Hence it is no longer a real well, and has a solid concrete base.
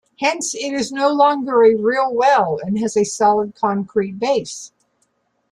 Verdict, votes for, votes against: accepted, 2, 0